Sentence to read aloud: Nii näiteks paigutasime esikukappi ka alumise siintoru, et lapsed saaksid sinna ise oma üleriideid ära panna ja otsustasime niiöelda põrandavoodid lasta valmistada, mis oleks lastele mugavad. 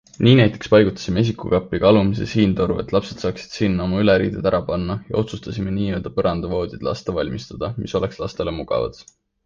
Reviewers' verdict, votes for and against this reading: accepted, 2, 1